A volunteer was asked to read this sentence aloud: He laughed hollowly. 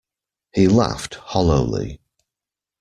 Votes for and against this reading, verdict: 2, 0, accepted